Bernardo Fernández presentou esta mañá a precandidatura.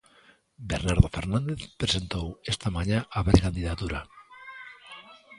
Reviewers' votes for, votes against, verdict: 1, 2, rejected